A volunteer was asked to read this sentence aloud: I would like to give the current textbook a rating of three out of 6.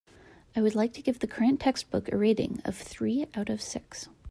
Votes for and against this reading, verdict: 0, 2, rejected